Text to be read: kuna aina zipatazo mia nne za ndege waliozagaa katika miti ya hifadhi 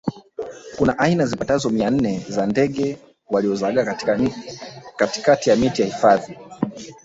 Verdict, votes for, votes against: rejected, 0, 2